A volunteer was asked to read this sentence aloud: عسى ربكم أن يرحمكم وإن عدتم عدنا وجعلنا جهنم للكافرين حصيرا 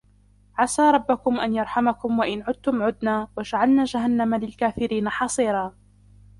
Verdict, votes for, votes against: accepted, 3, 0